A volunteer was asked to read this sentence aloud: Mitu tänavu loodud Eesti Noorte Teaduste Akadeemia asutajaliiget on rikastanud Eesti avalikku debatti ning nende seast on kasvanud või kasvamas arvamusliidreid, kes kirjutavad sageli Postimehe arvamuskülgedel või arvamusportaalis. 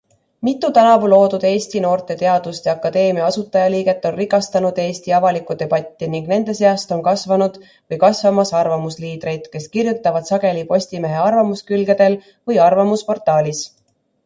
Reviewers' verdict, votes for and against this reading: accepted, 2, 0